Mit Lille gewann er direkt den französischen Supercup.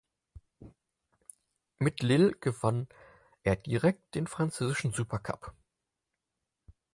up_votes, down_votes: 4, 0